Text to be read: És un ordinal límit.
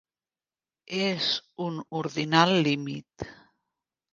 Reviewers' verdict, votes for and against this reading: rejected, 1, 3